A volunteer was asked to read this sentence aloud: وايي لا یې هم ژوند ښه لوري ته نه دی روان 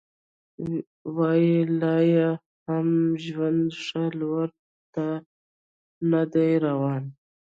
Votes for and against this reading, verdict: 2, 0, accepted